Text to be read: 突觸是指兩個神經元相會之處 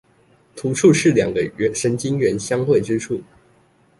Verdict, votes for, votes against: rejected, 0, 2